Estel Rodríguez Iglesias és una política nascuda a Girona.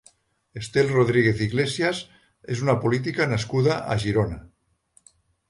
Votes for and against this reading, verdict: 3, 0, accepted